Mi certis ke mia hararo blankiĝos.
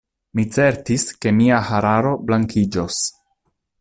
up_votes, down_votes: 2, 0